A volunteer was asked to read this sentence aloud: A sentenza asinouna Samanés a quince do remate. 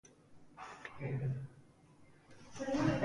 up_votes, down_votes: 0, 2